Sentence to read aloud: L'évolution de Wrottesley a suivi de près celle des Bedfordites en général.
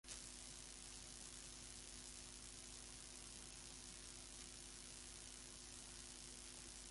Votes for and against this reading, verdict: 0, 2, rejected